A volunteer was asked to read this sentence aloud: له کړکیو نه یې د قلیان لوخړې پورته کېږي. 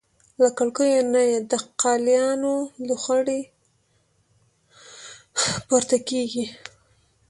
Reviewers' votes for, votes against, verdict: 1, 2, rejected